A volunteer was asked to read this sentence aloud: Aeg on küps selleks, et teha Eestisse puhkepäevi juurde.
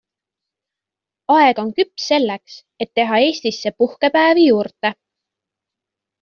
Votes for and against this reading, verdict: 2, 0, accepted